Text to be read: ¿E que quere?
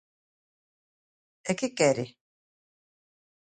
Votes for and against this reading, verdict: 2, 0, accepted